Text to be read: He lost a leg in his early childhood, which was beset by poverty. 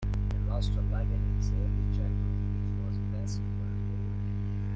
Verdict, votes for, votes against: rejected, 0, 2